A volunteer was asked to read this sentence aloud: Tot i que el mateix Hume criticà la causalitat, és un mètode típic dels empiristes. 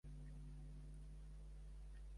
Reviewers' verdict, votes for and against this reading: rejected, 0, 2